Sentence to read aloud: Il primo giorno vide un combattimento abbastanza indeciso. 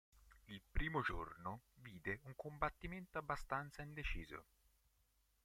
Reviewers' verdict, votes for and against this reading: rejected, 1, 2